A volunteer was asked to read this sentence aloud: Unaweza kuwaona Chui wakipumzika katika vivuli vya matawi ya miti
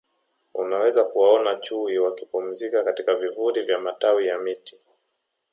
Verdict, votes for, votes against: accepted, 2, 0